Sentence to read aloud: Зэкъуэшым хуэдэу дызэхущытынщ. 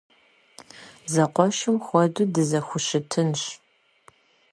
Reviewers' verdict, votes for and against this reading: accepted, 2, 0